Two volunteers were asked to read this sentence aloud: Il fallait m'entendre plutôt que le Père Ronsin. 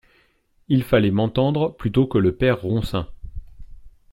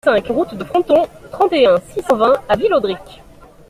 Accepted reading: first